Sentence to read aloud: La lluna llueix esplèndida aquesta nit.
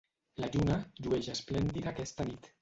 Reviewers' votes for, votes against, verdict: 1, 2, rejected